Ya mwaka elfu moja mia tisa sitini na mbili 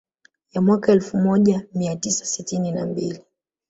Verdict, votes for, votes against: accepted, 2, 0